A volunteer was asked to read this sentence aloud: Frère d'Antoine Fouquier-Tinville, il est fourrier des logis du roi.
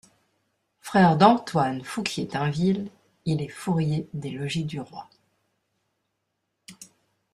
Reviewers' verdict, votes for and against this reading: accepted, 2, 0